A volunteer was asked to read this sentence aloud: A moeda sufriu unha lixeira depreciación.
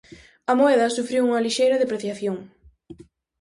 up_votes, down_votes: 4, 0